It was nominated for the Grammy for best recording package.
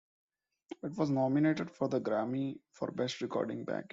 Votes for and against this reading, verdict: 0, 2, rejected